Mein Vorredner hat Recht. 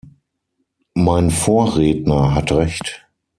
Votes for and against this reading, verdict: 6, 0, accepted